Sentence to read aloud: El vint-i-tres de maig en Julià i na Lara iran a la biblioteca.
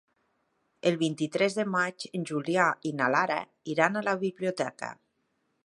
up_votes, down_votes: 3, 0